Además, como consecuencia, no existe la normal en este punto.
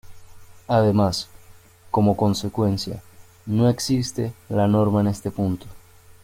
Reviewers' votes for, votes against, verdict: 0, 2, rejected